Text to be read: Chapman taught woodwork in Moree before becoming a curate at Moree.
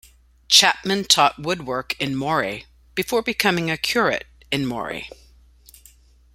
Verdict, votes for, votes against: rejected, 0, 2